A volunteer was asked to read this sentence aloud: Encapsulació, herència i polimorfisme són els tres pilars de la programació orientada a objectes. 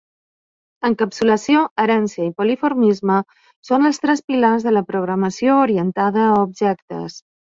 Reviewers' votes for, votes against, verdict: 1, 2, rejected